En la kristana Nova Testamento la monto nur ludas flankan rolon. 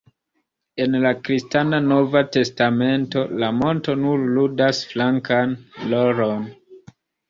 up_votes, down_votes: 1, 2